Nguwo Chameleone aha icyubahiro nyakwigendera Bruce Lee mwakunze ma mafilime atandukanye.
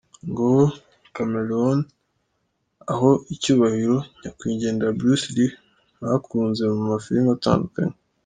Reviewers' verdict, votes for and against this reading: rejected, 1, 2